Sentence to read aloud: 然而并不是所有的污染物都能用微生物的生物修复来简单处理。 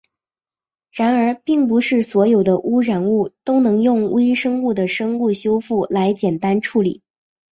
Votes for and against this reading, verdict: 2, 1, accepted